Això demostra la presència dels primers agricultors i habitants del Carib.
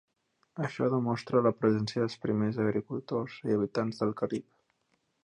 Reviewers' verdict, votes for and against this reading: accepted, 2, 0